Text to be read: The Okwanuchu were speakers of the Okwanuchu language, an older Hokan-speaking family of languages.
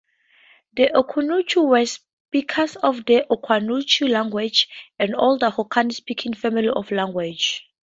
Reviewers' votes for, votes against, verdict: 2, 2, rejected